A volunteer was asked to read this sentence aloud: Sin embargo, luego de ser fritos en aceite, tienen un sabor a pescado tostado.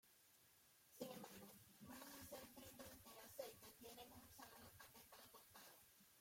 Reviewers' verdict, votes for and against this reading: rejected, 0, 2